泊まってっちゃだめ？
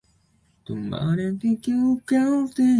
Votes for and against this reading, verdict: 0, 2, rejected